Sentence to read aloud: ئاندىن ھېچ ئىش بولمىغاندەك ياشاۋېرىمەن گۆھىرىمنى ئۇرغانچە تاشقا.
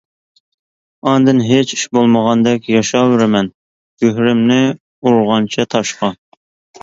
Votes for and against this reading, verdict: 2, 0, accepted